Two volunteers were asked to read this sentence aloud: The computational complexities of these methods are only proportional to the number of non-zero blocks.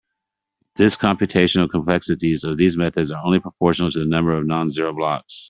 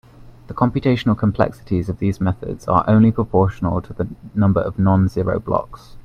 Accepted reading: second